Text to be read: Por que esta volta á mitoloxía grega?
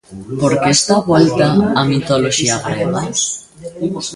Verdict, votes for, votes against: rejected, 0, 2